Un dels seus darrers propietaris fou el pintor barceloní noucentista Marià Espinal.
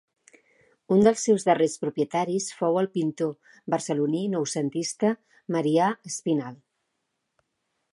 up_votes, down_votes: 2, 0